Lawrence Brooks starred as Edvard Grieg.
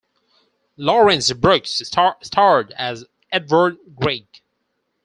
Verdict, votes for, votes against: rejected, 0, 4